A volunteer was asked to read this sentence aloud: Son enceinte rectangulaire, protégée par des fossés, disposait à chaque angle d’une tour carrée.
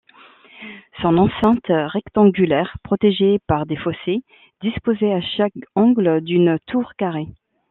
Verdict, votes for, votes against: accepted, 2, 0